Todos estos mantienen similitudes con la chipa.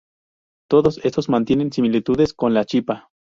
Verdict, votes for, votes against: accepted, 4, 0